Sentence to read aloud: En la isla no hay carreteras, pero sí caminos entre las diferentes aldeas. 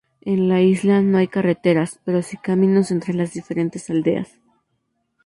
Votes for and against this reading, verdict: 2, 0, accepted